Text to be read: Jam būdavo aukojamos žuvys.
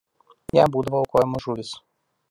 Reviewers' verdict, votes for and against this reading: rejected, 0, 2